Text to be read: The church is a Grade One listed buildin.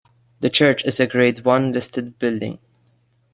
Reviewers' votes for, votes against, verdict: 1, 2, rejected